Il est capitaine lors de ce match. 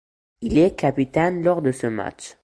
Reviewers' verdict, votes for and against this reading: accepted, 2, 0